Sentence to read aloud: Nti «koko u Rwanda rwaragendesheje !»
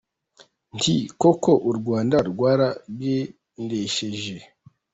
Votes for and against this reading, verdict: 1, 2, rejected